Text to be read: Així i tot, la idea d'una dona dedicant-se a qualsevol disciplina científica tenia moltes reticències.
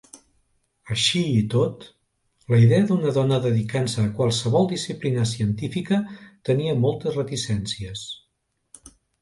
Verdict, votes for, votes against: accepted, 2, 0